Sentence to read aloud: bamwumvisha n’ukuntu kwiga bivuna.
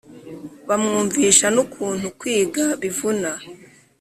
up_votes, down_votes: 2, 0